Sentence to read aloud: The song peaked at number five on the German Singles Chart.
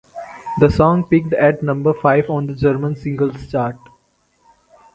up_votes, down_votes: 4, 0